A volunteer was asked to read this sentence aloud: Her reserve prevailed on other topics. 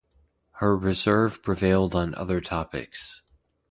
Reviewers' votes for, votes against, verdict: 2, 0, accepted